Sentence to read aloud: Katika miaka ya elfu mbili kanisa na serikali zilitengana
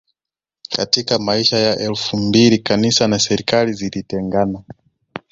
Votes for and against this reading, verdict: 1, 2, rejected